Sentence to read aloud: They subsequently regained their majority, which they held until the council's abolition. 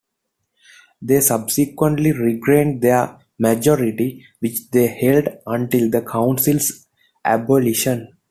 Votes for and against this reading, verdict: 2, 1, accepted